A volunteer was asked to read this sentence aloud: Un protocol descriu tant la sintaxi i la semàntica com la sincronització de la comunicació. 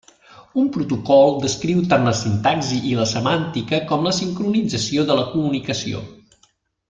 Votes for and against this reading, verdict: 3, 0, accepted